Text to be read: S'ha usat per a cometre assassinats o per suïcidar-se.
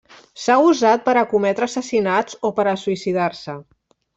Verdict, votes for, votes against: rejected, 0, 2